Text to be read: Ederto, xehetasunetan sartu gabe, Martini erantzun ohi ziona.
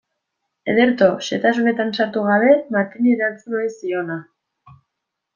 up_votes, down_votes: 3, 0